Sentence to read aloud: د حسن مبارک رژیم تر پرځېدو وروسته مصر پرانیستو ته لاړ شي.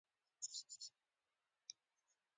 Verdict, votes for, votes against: accepted, 2, 1